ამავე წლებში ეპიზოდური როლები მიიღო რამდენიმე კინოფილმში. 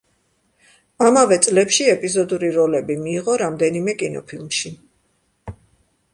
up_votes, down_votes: 2, 0